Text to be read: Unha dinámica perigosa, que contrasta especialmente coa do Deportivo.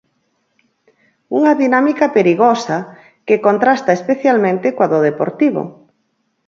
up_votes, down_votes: 4, 0